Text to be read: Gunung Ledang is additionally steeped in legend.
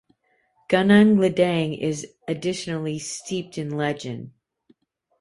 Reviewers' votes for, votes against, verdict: 2, 0, accepted